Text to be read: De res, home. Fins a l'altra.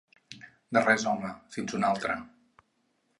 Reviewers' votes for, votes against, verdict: 0, 4, rejected